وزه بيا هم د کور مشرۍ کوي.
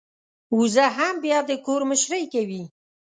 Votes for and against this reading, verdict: 1, 2, rejected